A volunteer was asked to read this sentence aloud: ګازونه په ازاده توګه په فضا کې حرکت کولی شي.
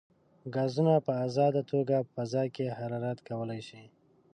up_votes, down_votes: 2, 3